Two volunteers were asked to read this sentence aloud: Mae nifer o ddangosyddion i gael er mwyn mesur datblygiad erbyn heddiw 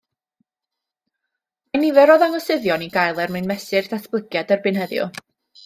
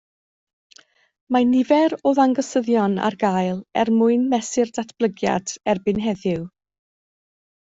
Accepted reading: second